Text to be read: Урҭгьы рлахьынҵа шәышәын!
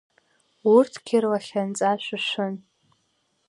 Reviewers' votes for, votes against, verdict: 1, 2, rejected